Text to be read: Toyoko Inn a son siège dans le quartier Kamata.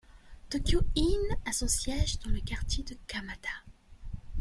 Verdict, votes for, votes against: rejected, 1, 2